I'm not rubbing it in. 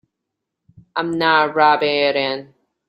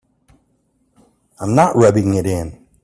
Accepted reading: second